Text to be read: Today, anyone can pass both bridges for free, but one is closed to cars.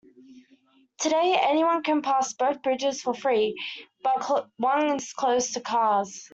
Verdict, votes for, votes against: rejected, 0, 2